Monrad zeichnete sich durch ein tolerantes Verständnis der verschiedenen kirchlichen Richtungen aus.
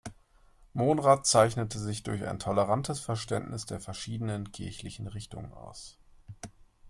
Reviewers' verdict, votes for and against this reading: accepted, 2, 0